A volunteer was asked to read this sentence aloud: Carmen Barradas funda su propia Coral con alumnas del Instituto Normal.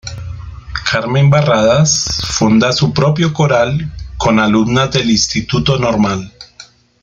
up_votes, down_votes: 1, 2